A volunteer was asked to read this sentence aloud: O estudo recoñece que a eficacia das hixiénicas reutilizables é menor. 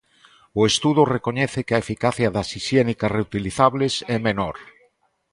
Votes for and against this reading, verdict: 2, 0, accepted